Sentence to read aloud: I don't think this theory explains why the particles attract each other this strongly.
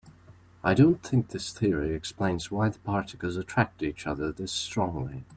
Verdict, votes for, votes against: accepted, 3, 0